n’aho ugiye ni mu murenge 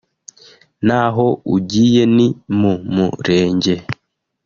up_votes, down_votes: 1, 2